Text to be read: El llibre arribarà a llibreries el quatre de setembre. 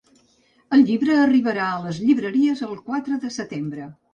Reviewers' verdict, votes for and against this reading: rejected, 0, 2